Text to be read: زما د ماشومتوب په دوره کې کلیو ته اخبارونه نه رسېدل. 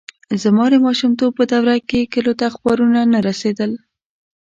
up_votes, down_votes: 2, 0